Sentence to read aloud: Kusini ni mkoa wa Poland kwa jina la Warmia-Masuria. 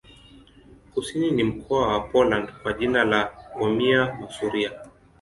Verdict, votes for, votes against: accepted, 2, 0